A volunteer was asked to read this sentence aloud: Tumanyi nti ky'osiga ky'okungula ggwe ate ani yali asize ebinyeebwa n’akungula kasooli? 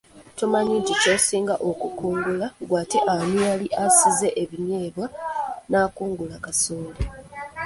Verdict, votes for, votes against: rejected, 1, 2